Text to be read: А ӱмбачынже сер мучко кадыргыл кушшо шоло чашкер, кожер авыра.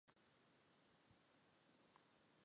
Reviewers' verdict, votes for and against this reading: rejected, 0, 2